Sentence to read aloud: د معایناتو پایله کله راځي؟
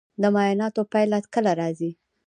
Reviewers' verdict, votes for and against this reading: accepted, 2, 1